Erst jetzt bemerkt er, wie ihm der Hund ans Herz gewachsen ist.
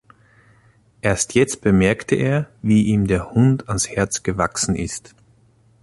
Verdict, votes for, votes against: rejected, 0, 2